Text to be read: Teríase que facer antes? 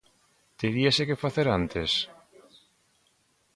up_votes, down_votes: 2, 0